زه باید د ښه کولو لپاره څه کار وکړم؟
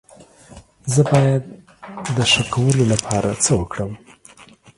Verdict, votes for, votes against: rejected, 1, 2